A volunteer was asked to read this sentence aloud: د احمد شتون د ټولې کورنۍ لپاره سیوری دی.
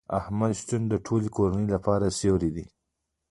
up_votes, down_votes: 0, 2